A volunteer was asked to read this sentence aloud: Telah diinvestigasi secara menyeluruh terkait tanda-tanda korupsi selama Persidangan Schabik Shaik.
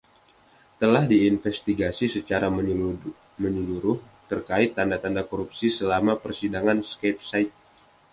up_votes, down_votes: 2, 0